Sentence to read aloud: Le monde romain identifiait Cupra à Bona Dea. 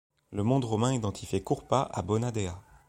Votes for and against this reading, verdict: 3, 1, accepted